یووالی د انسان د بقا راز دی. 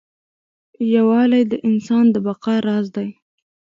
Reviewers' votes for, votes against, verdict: 0, 2, rejected